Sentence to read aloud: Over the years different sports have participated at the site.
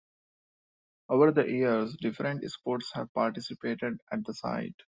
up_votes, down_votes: 2, 0